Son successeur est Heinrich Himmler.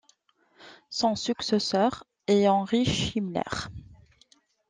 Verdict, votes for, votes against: rejected, 0, 2